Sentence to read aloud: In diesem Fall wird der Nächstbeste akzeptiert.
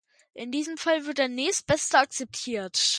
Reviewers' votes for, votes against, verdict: 2, 1, accepted